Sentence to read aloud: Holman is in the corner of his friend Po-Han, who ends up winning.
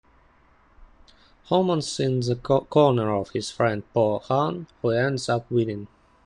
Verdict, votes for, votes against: rejected, 1, 2